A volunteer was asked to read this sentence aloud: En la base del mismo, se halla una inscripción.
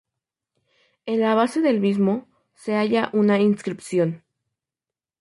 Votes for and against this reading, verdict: 2, 0, accepted